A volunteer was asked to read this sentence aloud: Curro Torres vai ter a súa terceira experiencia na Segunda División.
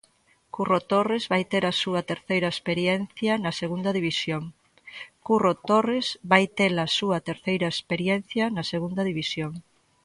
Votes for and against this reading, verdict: 0, 2, rejected